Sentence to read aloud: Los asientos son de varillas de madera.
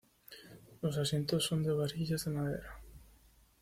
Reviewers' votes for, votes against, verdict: 2, 0, accepted